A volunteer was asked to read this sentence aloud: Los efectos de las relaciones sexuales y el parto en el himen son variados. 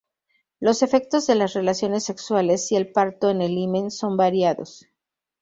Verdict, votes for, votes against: accepted, 2, 0